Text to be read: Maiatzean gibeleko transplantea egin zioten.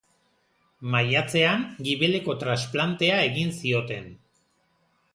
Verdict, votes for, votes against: accepted, 3, 1